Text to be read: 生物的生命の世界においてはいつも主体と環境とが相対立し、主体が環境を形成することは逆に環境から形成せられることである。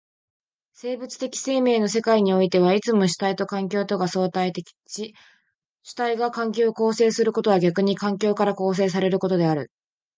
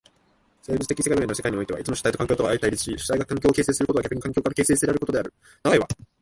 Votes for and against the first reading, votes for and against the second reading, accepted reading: 2, 0, 1, 2, first